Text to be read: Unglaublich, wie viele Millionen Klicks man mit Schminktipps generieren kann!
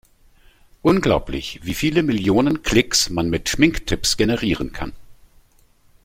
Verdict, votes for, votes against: accepted, 2, 0